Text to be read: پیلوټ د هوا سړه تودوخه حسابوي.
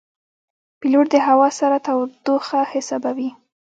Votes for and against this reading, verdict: 1, 2, rejected